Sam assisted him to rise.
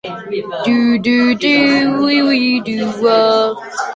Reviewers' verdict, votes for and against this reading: rejected, 0, 2